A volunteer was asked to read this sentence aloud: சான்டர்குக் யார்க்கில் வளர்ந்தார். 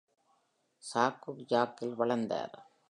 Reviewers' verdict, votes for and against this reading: rejected, 0, 2